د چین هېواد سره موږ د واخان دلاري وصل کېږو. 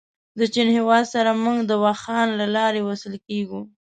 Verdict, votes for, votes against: rejected, 0, 2